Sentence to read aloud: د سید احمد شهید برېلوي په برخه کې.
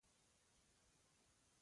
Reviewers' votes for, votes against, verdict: 0, 2, rejected